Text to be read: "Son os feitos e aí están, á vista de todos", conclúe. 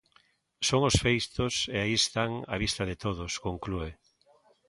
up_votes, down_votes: 0, 2